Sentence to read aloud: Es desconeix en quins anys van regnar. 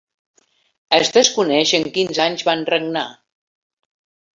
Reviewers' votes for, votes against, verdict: 2, 0, accepted